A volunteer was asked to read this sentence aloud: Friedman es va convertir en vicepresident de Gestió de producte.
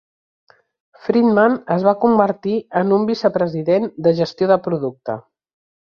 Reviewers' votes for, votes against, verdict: 1, 2, rejected